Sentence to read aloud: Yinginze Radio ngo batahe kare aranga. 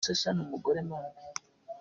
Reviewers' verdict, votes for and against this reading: rejected, 0, 2